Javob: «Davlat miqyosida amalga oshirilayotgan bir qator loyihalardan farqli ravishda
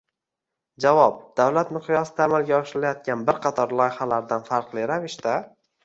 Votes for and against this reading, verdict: 2, 1, accepted